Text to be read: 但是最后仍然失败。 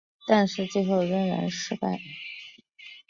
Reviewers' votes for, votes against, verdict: 3, 0, accepted